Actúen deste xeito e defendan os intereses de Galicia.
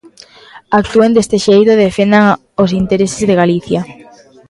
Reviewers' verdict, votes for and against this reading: rejected, 0, 2